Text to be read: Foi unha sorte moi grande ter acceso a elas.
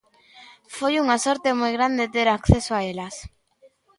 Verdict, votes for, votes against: rejected, 0, 2